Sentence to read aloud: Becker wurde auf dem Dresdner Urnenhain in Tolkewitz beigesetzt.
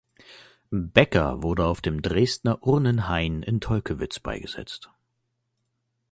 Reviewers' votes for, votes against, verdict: 2, 0, accepted